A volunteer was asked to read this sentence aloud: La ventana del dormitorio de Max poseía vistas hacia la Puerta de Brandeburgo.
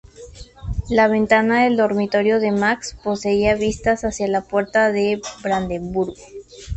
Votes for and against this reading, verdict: 2, 0, accepted